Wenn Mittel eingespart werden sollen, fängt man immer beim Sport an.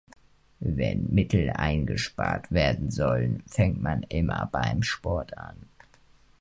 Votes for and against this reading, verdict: 2, 0, accepted